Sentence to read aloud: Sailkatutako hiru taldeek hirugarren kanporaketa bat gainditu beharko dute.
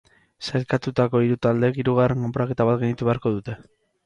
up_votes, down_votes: 2, 0